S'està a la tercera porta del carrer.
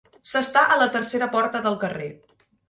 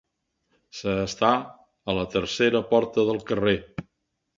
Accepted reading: first